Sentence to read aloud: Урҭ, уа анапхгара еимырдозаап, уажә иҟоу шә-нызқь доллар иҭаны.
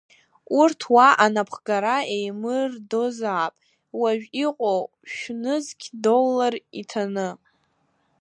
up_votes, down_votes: 1, 2